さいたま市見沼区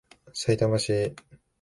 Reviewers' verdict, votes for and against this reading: rejected, 0, 3